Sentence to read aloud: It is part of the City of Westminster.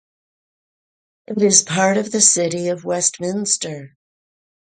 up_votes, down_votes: 4, 0